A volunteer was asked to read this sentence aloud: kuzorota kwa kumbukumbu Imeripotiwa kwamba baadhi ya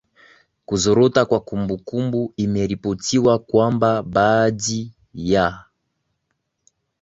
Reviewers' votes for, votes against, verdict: 1, 2, rejected